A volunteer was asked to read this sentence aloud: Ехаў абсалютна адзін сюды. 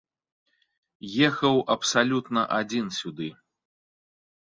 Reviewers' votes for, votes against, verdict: 2, 0, accepted